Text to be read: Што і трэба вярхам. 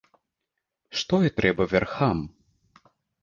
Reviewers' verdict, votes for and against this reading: accepted, 2, 0